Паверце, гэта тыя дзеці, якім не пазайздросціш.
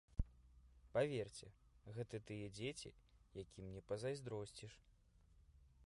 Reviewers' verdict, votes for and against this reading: rejected, 1, 2